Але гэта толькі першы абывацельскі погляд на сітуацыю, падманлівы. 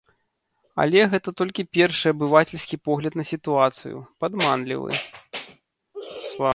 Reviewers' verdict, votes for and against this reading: accepted, 2, 0